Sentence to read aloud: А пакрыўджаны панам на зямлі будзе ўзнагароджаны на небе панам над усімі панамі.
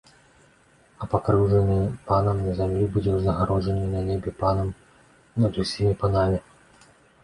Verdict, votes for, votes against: accepted, 2, 0